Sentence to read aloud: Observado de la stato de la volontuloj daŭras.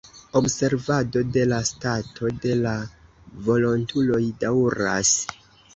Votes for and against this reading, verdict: 1, 2, rejected